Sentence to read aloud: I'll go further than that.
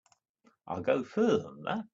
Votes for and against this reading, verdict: 4, 1, accepted